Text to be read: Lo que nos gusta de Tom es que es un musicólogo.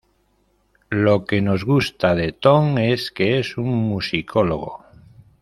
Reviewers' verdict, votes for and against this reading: accepted, 2, 0